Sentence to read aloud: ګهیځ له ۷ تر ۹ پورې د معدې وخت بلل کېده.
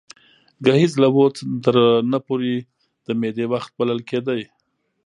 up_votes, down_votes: 0, 2